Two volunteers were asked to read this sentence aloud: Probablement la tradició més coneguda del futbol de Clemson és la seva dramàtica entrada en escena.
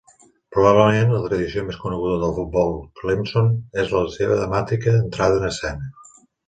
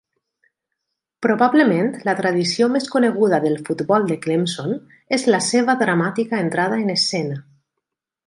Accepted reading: second